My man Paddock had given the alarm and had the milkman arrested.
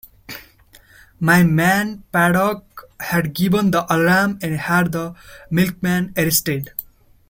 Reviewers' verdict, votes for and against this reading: accepted, 2, 0